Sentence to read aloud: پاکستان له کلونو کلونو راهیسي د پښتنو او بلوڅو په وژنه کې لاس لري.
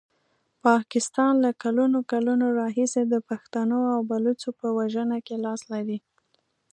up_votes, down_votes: 2, 0